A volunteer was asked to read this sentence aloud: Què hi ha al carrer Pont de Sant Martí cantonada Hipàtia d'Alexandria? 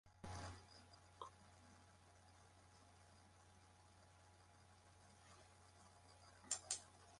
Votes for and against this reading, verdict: 1, 2, rejected